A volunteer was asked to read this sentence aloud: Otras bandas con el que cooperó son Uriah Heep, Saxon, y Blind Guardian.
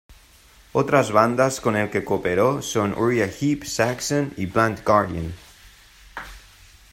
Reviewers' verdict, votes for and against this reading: accepted, 2, 0